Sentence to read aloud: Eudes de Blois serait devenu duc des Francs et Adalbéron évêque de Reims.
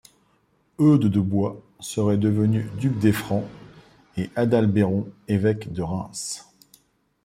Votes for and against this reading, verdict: 2, 1, accepted